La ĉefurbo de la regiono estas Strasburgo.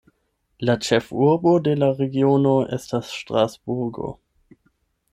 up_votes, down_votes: 4, 8